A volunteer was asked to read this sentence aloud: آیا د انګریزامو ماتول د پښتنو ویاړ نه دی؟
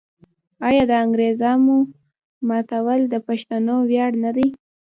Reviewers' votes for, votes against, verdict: 0, 2, rejected